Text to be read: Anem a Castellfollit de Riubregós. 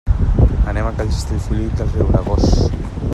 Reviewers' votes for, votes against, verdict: 1, 2, rejected